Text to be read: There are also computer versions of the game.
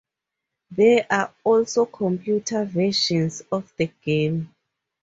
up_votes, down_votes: 4, 0